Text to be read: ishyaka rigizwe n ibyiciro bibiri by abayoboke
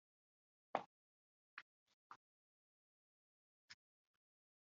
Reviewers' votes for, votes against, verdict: 0, 3, rejected